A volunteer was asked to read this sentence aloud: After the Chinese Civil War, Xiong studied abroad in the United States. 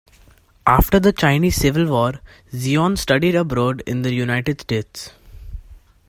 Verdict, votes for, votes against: rejected, 1, 2